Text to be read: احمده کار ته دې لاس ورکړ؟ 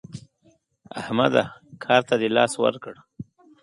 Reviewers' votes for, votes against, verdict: 2, 0, accepted